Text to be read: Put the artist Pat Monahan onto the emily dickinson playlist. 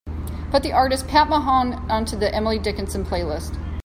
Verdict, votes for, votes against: accepted, 2, 1